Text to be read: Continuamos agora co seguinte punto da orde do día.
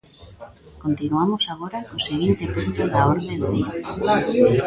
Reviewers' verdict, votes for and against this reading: rejected, 0, 2